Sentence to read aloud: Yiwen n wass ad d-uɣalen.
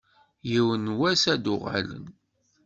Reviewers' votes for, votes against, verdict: 2, 0, accepted